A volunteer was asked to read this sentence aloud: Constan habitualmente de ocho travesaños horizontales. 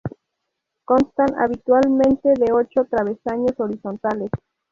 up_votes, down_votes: 2, 0